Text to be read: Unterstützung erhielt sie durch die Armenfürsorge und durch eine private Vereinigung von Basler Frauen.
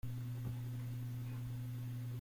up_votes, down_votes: 0, 2